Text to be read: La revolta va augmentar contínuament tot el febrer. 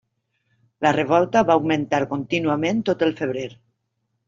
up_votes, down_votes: 3, 0